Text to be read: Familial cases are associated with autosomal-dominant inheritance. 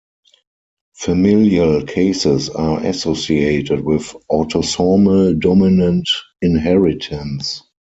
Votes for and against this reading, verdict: 0, 4, rejected